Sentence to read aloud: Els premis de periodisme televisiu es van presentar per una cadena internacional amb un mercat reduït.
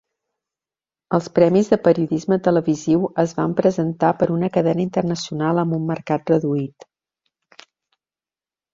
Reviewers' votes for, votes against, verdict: 2, 0, accepted